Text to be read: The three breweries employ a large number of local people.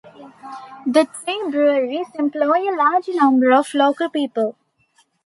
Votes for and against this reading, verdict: 0, 2, rejected